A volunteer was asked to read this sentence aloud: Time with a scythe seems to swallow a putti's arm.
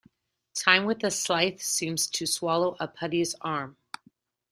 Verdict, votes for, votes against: accepted, 2, 0